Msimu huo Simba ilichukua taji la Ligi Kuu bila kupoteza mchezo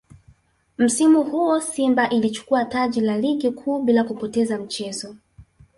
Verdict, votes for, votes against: accepted, 2, 1